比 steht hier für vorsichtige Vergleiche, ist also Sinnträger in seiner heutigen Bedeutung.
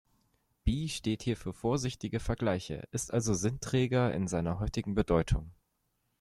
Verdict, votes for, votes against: accepted, 2, 0